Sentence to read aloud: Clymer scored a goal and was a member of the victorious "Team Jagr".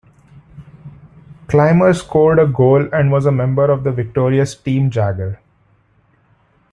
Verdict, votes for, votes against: accepted, 2, 0